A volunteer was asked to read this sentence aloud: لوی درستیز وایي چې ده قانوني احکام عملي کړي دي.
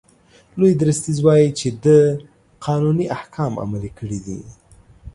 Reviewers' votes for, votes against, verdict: 2, 0, accepted